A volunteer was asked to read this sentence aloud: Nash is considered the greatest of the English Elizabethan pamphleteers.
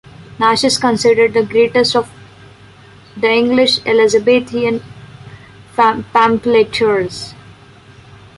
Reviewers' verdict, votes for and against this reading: rejected, 0, 2